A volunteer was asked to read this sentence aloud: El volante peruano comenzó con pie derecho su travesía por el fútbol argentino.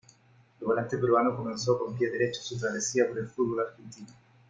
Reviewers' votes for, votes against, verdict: 1, 2, rejected